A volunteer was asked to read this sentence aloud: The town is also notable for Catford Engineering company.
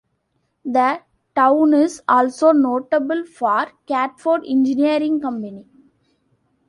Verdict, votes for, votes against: accepted, 2, 1